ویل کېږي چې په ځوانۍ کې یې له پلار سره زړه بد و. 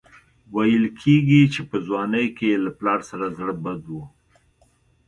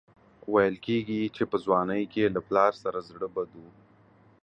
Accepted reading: first